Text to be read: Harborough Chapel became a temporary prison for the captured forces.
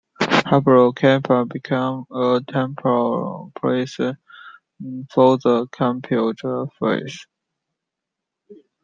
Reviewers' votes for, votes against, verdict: 0, 2, rejected